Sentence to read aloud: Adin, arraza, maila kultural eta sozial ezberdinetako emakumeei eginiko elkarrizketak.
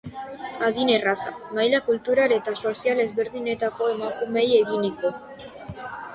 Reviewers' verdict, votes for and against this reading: rejected, 0, 4